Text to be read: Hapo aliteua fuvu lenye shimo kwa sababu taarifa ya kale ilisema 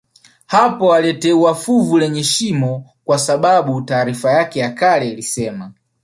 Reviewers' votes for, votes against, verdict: 1, 2, rejected